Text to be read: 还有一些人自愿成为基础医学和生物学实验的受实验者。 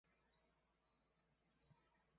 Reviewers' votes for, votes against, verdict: 0, 3, rejected